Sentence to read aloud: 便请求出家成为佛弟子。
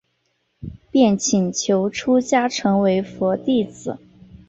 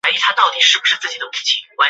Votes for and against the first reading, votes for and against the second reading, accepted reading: 2, 0, 0, 2, first